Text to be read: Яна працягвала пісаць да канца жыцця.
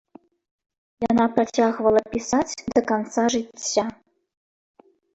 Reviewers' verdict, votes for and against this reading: accepted, 2, 0